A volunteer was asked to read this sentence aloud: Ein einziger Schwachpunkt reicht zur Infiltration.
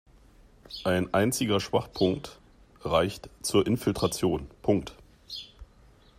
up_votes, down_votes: 2, 3